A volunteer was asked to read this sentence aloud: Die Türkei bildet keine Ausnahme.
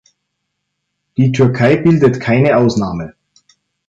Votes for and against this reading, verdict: 2, 0, accepted